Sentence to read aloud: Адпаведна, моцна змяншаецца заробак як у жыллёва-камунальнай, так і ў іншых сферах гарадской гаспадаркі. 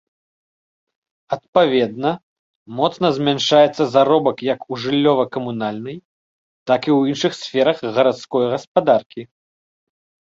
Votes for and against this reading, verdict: 2, 0, accepted